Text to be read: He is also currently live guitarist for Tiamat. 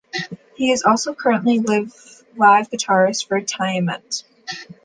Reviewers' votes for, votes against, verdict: 1, 2, rejected